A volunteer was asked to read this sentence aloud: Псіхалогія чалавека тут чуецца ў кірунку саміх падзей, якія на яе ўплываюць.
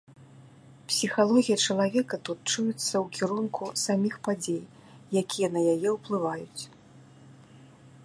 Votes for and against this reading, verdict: 2, 0, accepted